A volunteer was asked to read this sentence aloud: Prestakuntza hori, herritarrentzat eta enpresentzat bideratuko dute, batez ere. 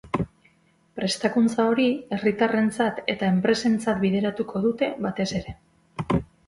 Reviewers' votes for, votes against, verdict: 4, 0, accepted